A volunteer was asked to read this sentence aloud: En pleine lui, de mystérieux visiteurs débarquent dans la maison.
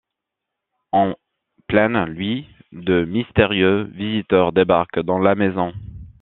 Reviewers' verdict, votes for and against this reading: accepted, 2, 0